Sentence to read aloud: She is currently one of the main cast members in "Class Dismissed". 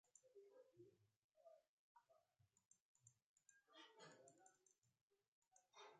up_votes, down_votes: 0, 2